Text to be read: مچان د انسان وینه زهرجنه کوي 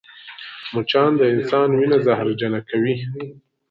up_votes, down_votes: 2, 0